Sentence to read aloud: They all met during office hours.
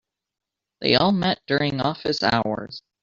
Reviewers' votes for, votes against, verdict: 2, 1, accepted